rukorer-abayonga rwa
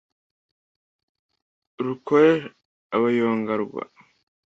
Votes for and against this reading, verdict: 2, 0, accepted